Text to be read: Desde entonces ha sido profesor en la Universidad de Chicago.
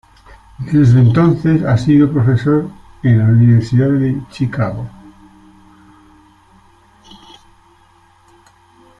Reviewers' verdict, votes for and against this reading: accepted, 2, 0